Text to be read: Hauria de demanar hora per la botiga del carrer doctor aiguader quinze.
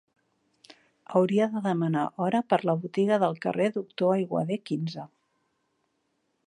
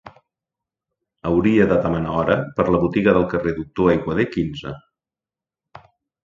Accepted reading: second